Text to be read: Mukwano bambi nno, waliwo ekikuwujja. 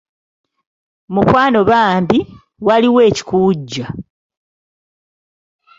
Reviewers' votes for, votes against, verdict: 1, 2, rejected